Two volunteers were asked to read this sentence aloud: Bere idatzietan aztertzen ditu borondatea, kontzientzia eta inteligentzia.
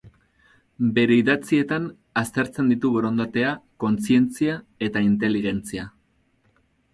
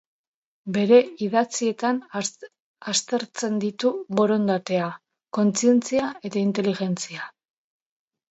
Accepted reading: first